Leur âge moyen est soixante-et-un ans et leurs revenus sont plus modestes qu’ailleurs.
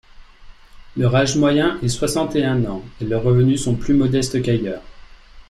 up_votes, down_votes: 2, 0